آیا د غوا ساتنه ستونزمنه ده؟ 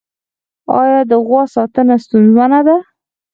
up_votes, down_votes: 0, 4